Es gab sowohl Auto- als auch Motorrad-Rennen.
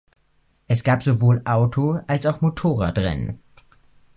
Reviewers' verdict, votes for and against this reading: accepted, 2, 0